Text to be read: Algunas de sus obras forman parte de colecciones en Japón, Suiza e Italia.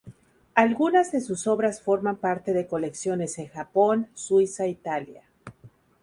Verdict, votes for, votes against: accepted, 2, 0